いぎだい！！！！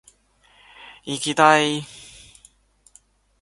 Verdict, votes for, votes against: accepted, 2, 0